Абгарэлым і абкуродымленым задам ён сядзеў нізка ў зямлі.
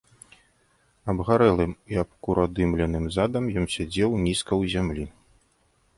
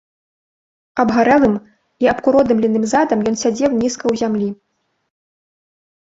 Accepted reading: first